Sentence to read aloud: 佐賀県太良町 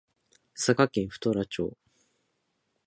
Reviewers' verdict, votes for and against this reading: accepted, 2, 0